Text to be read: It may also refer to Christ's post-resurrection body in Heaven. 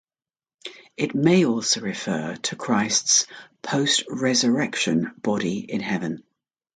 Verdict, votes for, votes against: accepted, 2, 0